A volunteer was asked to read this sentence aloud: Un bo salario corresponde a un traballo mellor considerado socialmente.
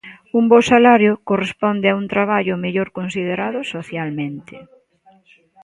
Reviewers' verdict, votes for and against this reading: rejected, 0, 2